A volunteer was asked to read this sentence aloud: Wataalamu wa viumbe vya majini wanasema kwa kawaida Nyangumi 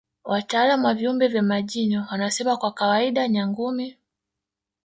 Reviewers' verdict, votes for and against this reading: rejected, 1, 2